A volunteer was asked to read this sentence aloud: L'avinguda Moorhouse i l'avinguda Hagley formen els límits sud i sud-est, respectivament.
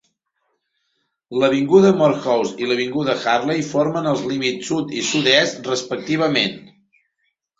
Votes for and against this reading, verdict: 2, 0, accepted